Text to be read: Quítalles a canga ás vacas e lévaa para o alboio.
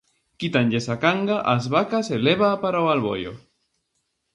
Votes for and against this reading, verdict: 0, 2, rejected